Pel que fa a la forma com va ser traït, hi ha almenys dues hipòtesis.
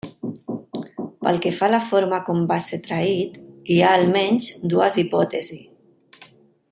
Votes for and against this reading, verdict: 0, 2, rejected